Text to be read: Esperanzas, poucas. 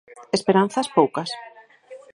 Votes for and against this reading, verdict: 2, 4, rejected